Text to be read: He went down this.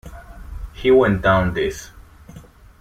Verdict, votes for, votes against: accepted, 2, 0